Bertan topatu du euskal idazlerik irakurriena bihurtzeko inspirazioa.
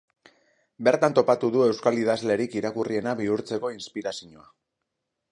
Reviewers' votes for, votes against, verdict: 0, 2, rejected